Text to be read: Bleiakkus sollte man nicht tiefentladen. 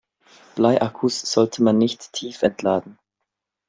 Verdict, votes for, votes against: accepted, 2, 0